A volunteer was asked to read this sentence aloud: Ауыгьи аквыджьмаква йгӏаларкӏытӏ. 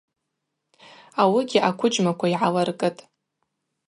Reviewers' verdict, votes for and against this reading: accepted, 2, 0